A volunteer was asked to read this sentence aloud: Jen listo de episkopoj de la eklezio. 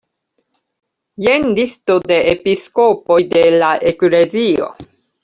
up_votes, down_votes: 2, 0